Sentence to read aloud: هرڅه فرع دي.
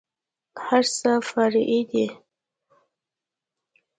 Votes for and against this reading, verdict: 2, 0, accepted